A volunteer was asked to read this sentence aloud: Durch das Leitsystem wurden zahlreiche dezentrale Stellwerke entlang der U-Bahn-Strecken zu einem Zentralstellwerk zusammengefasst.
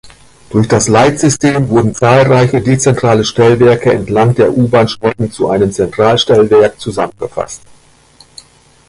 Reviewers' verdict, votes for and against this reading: rejected, 1, 2